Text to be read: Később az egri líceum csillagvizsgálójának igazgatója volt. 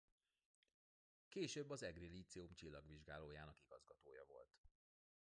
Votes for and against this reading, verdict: 0, 2, rejected